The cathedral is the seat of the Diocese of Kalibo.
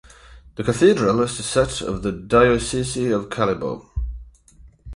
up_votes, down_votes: 4, 4